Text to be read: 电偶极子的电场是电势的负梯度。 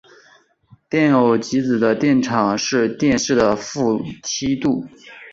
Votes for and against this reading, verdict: 4, 0, accepted